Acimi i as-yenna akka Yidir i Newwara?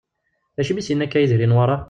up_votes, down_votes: 1, 2